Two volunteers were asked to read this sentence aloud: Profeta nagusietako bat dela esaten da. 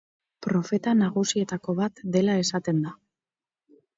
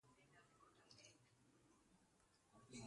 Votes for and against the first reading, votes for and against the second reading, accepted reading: 6, 0, 0, 3, first